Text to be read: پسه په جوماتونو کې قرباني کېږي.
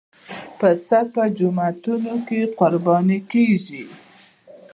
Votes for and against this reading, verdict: 0, 2, rejected